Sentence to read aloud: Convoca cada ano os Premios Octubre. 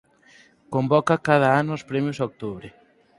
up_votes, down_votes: 4, 0